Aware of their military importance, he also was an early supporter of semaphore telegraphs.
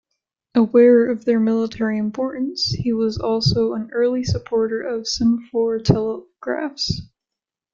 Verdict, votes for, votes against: rejected, 0, 2